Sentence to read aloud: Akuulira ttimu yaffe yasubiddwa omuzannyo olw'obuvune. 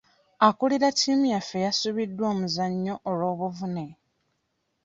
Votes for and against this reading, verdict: 1, 2, rejected